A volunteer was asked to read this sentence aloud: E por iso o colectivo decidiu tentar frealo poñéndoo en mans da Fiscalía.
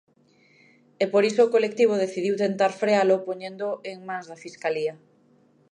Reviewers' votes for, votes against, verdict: 2, 0, accepted